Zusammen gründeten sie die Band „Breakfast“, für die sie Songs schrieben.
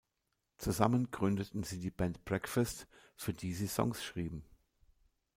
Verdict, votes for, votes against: accepted, 2, 0